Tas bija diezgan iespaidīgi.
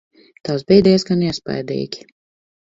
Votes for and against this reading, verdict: 4, 0, accepted